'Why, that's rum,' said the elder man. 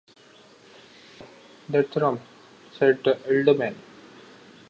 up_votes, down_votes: 0, 2